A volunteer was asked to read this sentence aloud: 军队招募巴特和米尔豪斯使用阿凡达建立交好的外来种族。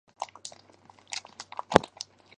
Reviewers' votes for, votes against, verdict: 3, 7, rejected